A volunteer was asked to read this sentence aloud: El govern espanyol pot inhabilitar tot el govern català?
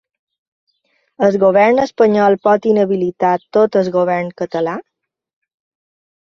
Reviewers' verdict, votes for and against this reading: rejected, 1, 2